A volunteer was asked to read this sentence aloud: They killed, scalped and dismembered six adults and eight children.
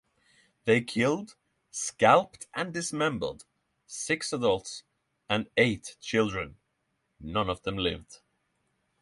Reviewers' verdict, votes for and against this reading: rejected, 3, 3